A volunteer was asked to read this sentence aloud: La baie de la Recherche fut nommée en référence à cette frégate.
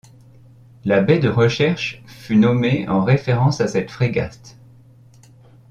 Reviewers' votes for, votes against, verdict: 0, 2, rejected